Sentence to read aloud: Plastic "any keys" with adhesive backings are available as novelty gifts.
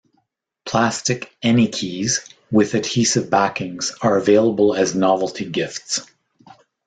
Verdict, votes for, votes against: accepted, 2, 0